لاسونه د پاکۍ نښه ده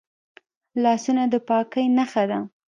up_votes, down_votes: 2, 0